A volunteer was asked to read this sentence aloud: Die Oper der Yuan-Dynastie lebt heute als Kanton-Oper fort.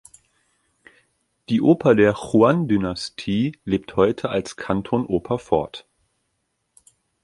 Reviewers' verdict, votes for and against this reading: rejected, 1, 2